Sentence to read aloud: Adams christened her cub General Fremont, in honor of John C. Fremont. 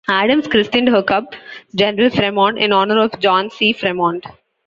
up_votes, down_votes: 2, 0